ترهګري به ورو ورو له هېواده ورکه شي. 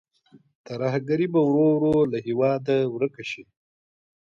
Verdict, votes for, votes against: accepted, 2, 1